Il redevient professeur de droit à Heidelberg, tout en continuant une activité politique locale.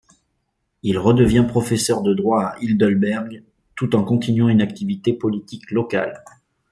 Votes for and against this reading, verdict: 0, 2, rejected